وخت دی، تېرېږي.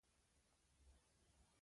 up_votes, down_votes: 2, 0